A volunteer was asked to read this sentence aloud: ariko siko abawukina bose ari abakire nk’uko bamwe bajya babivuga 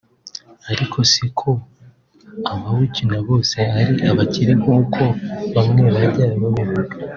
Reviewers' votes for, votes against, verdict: 2, 0, accepted